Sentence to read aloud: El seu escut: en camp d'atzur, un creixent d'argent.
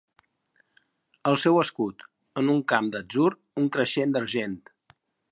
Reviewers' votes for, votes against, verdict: 0, 2, rejected